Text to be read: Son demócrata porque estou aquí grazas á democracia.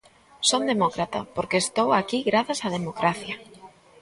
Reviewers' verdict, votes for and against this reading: rejected, 1, 2